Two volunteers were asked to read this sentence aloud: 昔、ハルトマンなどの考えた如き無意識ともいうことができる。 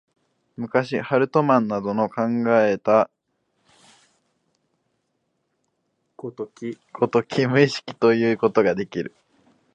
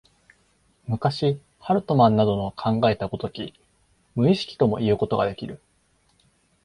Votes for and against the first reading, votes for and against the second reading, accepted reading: 1, 2, 2, 0, second